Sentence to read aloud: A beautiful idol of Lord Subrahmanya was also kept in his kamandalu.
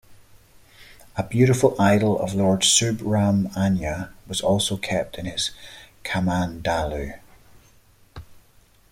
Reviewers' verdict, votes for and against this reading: accepted, 2, 0